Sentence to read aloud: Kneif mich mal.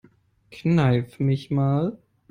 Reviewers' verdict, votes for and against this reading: accepted, 2, 0